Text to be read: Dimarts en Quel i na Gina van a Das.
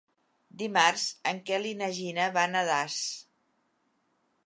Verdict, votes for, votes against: accepted, 2, 0